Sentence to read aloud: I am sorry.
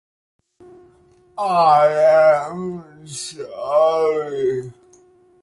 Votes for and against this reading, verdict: 2, 0, accepted